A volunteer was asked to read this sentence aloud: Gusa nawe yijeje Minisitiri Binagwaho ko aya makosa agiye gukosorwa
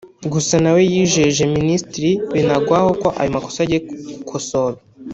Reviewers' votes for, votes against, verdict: 1, 2, rejected